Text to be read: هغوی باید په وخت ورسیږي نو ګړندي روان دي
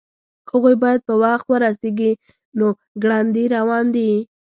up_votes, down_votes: 2, 0